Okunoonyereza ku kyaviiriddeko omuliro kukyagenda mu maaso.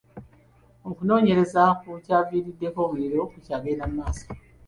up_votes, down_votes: 2, 1